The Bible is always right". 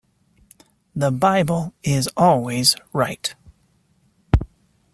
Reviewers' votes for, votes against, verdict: 2, 0, accepted